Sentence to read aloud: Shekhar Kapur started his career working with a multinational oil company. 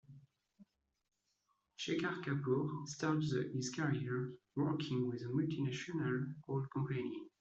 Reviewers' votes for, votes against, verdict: 1, 2, rejected